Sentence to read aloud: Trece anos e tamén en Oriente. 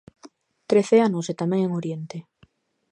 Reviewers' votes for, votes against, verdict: 2, 0, accepted